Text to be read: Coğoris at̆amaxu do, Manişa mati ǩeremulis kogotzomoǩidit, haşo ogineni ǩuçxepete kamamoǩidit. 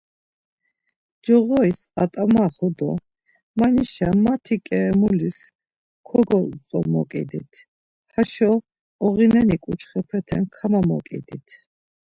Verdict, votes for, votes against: accepted, 2, 0